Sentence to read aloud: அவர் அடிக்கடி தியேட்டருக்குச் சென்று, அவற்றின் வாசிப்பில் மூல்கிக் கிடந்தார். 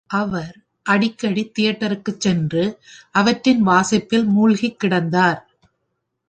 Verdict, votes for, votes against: accepted, 2, 1